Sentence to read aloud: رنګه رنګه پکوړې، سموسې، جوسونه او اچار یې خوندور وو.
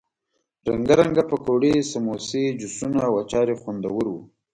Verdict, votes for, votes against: accepted, 2, 0